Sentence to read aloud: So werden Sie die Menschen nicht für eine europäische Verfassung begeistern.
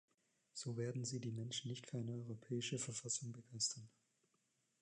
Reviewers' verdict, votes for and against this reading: accepted, 2, 1